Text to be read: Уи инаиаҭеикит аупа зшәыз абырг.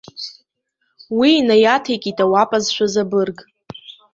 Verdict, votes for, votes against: rejected, 1, 3